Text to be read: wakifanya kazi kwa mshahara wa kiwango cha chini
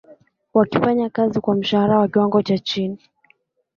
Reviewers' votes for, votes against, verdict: 2, 1, accepted